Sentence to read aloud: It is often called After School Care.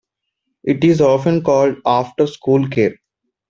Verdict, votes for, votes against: accepted, 2, 0